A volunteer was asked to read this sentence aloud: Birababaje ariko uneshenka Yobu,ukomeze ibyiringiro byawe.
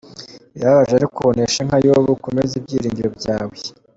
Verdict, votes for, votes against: accepted, 2, 0